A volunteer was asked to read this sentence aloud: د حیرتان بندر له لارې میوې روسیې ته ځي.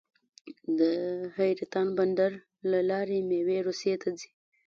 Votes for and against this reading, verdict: 0, 2, rejected